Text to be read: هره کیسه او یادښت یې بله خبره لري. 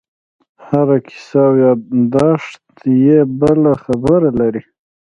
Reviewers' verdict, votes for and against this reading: accepted, 2, 0